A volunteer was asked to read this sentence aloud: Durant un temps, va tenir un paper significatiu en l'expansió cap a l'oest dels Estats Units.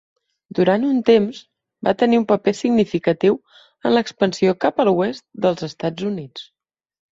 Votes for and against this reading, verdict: 3, 1, accepted